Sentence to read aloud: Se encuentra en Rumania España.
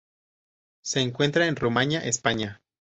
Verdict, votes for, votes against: accepted, 2, 0